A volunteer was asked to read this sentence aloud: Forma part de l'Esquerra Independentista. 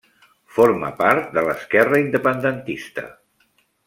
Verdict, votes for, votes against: accepted, 3, 0